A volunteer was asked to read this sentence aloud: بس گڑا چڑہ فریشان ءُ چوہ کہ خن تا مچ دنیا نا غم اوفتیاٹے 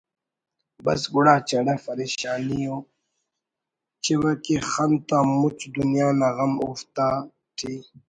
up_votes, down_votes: 2, 0